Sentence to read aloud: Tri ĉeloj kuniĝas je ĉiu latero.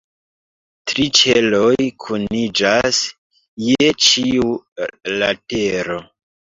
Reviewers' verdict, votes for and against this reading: accepted, 2, 1